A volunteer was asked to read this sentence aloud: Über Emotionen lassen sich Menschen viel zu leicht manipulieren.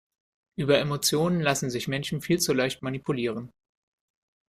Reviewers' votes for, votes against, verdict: 2, 0, accepted